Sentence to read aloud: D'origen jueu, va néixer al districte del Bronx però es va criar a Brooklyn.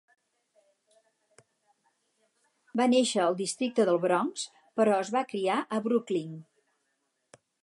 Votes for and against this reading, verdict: 0, 4, rejected